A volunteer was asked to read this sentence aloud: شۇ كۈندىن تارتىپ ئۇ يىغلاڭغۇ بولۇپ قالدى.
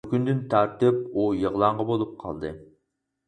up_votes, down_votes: 0, 4